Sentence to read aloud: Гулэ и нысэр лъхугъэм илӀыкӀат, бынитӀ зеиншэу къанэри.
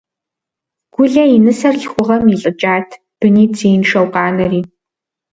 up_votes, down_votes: 2, 0